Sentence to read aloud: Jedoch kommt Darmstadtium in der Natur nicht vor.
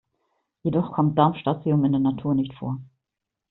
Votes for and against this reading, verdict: 2, 0, accepted